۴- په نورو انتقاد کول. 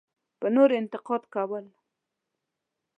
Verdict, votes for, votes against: rejected, 0, 2